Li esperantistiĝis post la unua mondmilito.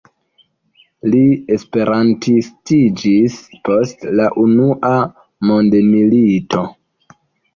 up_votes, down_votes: 0, 2